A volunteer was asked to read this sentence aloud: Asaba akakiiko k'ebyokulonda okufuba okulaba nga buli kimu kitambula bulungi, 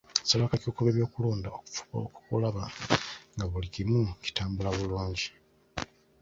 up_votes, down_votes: 2, 0